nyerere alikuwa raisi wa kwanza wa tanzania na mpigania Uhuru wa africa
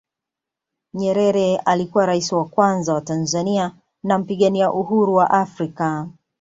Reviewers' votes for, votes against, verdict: 2, 0, accepted